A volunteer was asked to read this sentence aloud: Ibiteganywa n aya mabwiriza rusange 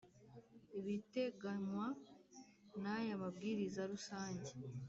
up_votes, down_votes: 3, 0